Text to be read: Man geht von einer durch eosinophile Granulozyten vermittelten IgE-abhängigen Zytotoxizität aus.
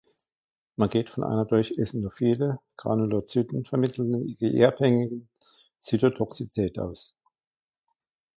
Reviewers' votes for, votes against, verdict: 0, 2, rejected